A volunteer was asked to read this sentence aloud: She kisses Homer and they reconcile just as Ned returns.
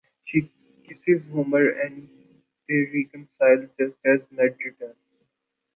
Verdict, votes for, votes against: rejected, 0, 2